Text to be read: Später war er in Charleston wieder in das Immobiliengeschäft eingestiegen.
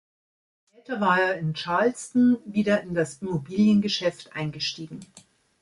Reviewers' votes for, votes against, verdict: 1, 2, rejected